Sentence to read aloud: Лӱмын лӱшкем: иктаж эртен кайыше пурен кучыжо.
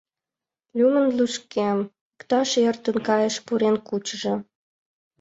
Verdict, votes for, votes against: accepted, 2, 1